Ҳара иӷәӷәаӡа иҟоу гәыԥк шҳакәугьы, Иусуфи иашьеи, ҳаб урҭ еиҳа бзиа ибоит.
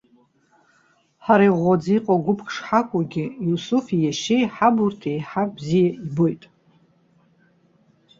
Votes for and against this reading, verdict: 0, 2, rejected